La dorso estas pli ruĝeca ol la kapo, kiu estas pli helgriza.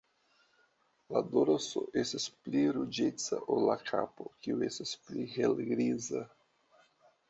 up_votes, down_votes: 0, 2